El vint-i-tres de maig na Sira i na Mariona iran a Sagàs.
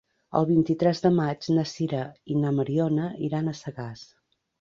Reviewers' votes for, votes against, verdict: 3, 0, accepted